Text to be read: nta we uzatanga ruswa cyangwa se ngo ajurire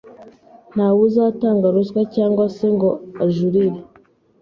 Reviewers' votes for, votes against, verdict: 2, 0, accepted